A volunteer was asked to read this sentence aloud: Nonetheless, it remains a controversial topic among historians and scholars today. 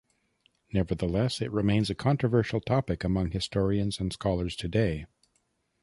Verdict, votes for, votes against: rejected, 1, 2